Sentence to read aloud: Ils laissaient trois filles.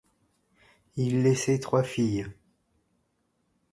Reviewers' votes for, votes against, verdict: 2, 0, accepted